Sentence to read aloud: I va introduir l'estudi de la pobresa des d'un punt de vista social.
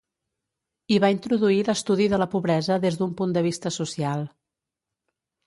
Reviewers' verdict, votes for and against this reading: accepted, 2, 0